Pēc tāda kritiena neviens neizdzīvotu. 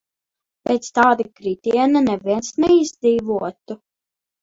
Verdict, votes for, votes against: rejected, 0, 2